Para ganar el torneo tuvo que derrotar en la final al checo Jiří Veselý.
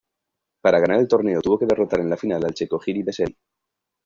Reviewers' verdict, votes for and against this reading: accepted, 2, 1